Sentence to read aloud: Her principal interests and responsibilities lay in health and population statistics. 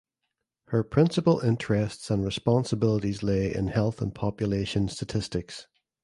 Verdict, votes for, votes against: accepted, 2, 0